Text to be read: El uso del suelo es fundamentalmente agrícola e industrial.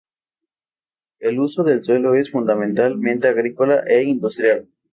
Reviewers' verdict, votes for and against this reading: accepted, 4, 0